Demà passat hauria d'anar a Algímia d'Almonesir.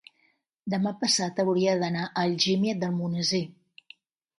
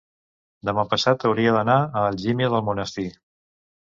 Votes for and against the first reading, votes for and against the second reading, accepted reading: 2, 0, 1, 2, first